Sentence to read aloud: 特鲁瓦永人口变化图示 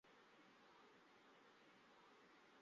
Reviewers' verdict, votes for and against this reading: accepted, 4, 2